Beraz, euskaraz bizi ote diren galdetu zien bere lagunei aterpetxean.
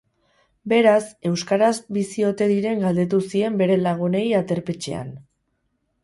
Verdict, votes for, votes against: rejected, 2, 2